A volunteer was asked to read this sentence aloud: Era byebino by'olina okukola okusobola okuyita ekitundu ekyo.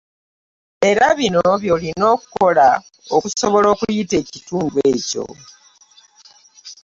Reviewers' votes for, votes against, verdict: 2, 2, rejected